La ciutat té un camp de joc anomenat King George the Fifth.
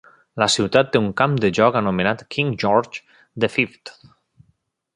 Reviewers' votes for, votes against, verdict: 2, 1, accepted